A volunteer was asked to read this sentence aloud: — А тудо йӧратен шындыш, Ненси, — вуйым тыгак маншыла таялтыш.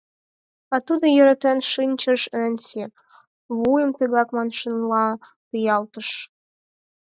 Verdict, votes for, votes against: rejected, 2, 4